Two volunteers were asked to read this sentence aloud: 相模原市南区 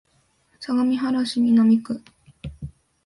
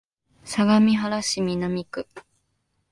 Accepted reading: first